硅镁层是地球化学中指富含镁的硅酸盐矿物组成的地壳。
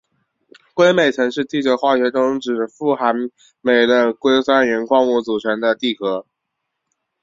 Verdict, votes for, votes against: accepted, 2, 0